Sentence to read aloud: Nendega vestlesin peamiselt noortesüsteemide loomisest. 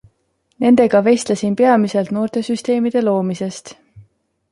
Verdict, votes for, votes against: accepted, 2, 0